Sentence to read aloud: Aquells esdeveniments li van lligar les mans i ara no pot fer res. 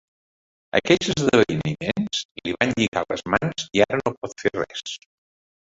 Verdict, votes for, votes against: rejected, 1, 3